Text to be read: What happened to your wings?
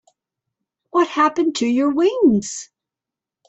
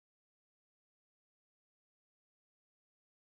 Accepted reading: first